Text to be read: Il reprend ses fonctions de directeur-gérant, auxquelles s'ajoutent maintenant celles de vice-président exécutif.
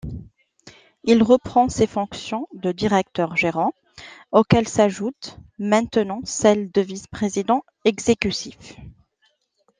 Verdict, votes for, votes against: rejected, 0, 2